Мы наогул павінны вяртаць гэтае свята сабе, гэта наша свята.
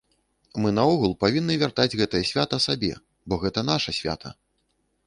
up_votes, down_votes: 1, 2